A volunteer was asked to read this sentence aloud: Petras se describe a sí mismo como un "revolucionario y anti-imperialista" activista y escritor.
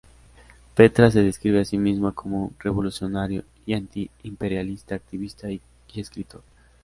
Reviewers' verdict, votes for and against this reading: accepted, 2, 0